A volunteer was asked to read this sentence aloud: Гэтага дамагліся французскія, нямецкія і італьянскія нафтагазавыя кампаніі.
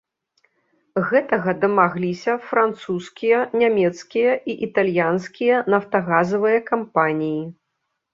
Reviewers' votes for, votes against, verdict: 2, 0, accepted